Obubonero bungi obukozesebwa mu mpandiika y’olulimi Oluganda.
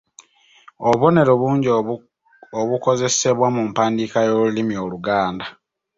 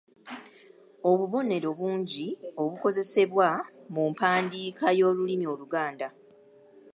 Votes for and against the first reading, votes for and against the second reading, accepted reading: 1, 2, 2, 0, second